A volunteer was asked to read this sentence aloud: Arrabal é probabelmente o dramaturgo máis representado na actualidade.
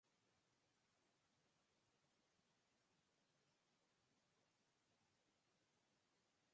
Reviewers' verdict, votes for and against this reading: rejected, 0, 4